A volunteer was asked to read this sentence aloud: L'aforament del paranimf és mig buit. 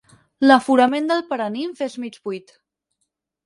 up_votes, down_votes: 8, 0